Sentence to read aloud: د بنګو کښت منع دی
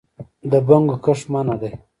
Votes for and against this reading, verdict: 1, 2, rejected